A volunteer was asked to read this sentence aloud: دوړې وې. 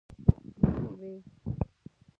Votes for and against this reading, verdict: 0, 3, rejected